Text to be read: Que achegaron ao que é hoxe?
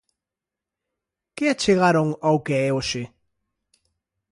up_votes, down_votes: 2, 0